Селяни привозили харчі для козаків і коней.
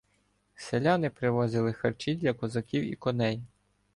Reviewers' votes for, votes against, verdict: 2, 0, accepted